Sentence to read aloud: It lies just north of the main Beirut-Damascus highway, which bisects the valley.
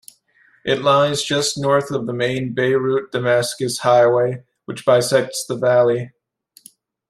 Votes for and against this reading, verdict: 2, 0, accepted